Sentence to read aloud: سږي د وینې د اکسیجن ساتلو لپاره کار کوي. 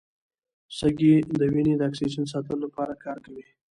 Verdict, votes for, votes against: rejected, 1, 2